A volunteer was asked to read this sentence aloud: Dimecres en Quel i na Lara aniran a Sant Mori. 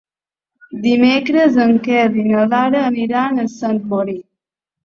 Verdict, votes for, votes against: accepted, 2, 0